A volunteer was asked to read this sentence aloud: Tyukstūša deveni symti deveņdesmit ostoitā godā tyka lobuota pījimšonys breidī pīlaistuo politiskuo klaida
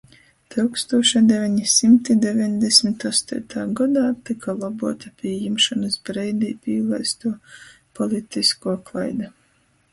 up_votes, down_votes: 2, 0